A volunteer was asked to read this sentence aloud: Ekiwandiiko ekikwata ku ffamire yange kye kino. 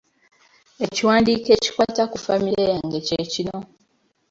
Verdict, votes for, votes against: accepted, 3, 0